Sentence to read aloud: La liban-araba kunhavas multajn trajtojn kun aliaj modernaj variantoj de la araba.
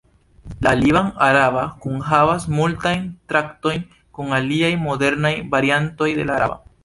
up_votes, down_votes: 1, 2